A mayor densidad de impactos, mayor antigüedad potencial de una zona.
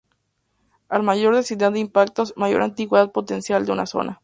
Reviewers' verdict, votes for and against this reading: accepted, 2, 0